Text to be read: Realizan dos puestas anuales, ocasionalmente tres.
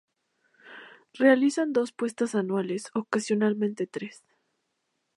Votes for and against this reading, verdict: 2, 0, accepted